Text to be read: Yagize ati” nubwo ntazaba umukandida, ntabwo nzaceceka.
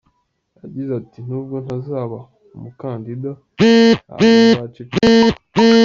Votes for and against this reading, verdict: 1, 2, rejected